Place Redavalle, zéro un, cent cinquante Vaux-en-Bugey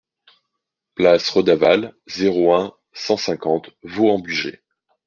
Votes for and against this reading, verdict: 2, 0, accepted